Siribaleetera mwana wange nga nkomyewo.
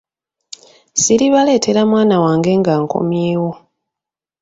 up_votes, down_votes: 2, 0